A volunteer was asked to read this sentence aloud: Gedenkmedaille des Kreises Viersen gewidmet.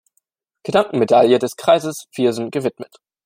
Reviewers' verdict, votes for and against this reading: rejected, 0, 2